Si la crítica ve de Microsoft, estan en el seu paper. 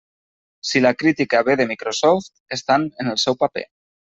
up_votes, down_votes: 3, 0